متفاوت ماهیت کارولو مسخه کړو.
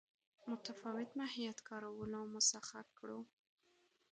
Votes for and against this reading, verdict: 2, 0, accepted